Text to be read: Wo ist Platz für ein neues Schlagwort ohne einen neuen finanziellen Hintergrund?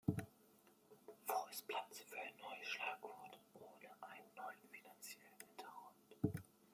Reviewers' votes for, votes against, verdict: 1, 2, rejected